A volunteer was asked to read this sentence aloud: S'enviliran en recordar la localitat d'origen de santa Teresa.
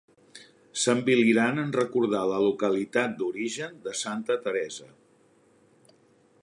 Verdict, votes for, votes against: accepted, 3, 0